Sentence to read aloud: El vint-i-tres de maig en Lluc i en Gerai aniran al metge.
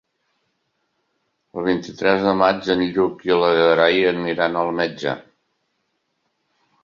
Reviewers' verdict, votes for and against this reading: rejected, 0, 3